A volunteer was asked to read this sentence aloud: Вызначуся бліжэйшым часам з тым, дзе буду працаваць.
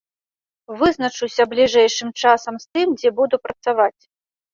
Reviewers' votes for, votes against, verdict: 2, 0, accepted